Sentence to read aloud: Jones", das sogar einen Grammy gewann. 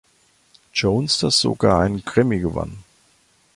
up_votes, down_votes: 2, 3